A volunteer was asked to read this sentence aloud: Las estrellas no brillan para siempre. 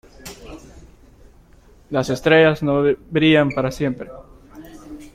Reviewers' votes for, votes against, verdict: 1, 2, rejected